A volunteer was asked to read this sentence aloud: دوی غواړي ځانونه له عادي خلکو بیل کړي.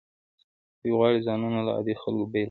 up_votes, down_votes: 1, 2